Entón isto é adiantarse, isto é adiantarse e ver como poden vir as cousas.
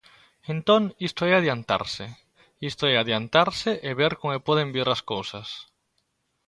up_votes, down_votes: 2, 0